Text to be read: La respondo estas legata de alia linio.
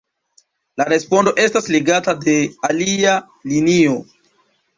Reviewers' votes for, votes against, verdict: 3, 2, accepted